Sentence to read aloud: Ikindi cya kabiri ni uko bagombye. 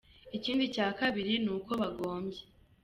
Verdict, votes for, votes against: accepted, 2, 0